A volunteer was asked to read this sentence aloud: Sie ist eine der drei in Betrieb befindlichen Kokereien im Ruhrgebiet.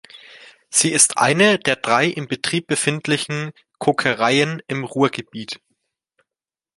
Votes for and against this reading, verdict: 2, 0, accepted